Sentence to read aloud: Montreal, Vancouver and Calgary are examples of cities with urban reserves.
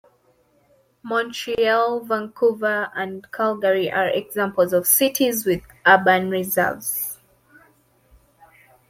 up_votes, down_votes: 2, 0